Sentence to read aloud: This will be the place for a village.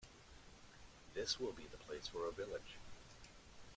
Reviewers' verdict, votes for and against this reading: accepted, 2, 1